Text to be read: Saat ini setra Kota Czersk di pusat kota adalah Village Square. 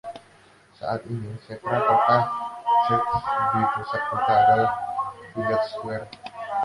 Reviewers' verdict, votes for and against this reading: rejected, 0, 2